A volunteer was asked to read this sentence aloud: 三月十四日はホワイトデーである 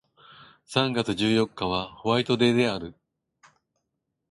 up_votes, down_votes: 2, 0